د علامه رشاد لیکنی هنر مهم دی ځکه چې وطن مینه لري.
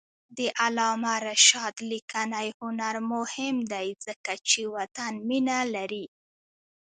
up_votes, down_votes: 1, 2